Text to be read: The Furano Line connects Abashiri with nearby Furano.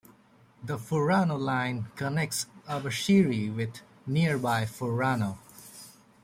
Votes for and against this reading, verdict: 2, 0, accepted